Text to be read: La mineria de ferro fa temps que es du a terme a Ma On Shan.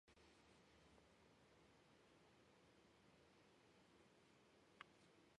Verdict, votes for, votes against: rejected, 1, 2